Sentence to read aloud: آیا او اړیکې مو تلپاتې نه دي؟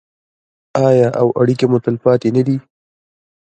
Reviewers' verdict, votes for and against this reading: accepted, 2, 1